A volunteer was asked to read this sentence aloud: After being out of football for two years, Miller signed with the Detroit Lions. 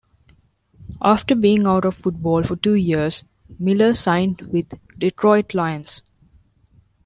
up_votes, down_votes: 0, 2